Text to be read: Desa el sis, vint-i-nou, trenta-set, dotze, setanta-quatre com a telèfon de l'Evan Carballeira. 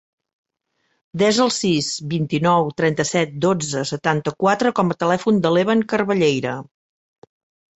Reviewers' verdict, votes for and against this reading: accepted, 3, 0